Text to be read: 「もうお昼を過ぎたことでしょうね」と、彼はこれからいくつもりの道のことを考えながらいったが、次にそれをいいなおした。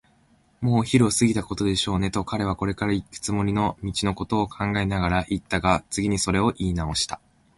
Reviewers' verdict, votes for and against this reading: accepted, 2, 0